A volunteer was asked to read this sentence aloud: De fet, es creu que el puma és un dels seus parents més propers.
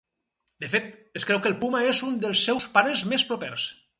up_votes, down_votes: 2, 4